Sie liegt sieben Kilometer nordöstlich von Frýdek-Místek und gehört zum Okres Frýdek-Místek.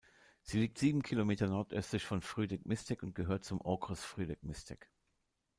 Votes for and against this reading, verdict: 1, 2, rejected